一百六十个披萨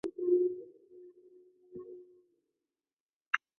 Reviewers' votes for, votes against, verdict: 0, 2, rejected